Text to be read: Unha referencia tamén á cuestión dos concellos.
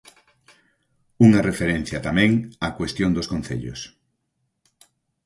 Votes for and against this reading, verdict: 4, 0, accepted